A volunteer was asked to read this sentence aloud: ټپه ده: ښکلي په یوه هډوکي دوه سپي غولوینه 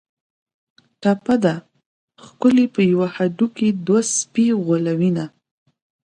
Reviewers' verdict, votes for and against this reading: accepted, 2, 0